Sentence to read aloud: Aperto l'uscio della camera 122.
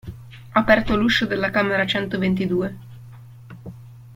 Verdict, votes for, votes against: rejected, 0, 2